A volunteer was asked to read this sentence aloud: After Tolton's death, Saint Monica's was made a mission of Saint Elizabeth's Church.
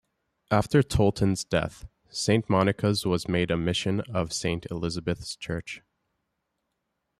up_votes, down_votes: 2, 0